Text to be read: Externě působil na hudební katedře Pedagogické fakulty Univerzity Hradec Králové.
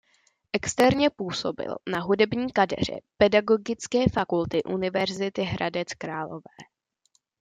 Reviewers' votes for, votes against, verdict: 0, 2, rejected